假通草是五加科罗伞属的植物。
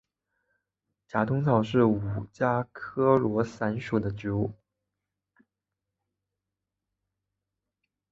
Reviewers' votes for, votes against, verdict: 5, 0, accepted